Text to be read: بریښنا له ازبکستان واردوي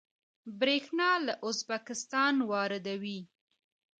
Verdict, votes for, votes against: rejected, 1, 2